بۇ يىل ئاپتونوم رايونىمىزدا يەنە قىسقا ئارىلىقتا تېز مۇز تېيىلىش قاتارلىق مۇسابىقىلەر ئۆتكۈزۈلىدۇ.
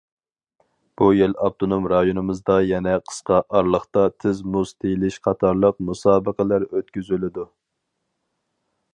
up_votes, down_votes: 4, 0